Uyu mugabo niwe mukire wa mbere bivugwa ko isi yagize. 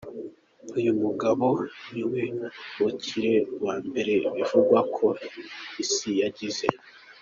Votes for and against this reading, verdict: 2, 0, accepted